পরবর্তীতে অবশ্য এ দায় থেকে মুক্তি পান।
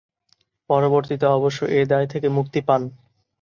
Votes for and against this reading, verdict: 2, 0, accepted